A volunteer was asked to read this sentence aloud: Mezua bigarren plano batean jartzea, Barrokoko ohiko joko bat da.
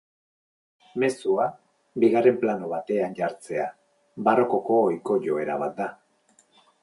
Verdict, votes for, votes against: rejected, 0, 4